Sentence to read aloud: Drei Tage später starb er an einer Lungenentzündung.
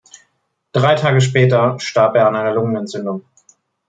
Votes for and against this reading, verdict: 2, 0, accepted